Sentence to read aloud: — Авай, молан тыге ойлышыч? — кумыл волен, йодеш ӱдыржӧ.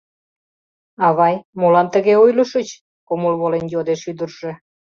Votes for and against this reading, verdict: 2, 0, accepted